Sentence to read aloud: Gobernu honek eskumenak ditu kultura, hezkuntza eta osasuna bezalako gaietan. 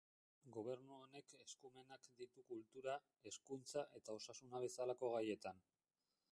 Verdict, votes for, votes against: rejected, 0, 2